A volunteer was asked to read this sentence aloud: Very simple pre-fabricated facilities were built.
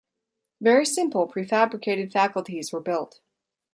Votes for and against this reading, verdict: 0, 2, rejected